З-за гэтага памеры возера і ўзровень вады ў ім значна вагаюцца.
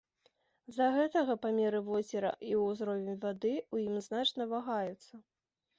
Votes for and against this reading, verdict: 1, 2, rejected